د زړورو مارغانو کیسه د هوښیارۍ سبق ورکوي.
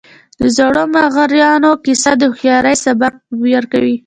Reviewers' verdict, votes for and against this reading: rejected, 1, 2